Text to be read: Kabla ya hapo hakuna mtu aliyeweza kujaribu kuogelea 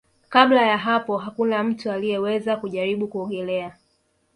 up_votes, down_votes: 2, 0